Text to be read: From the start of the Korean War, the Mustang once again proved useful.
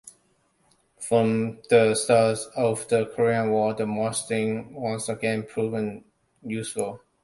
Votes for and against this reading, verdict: 1, 2, rejected